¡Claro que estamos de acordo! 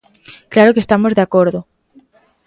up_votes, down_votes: 2, 0